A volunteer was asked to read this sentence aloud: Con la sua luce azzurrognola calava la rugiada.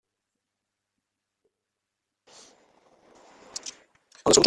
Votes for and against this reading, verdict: 0, 2, rejected